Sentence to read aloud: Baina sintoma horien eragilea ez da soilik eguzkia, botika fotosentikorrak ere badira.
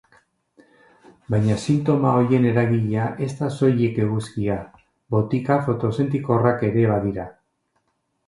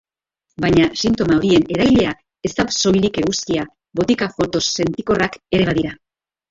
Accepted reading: first